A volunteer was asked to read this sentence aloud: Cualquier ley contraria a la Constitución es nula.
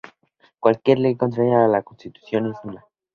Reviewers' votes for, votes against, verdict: 2, 0, accepted